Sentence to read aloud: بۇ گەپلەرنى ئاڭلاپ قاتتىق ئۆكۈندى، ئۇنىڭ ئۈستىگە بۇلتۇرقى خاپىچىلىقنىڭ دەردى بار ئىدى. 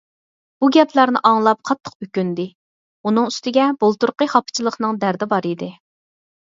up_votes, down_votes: 4, 2